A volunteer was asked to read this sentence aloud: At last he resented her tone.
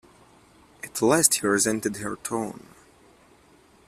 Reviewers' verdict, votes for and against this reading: accepted, 2, 1